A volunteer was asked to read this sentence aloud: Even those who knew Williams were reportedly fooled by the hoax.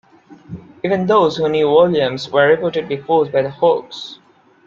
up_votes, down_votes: 1, 2